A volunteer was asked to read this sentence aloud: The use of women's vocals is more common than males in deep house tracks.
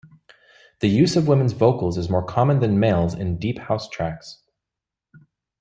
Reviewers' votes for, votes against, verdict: 2, 0, accepted